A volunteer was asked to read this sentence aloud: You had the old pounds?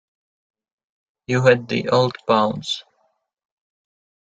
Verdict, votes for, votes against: accepted, 2, 1